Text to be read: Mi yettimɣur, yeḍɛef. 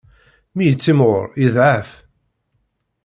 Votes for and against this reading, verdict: 1, 2, rejected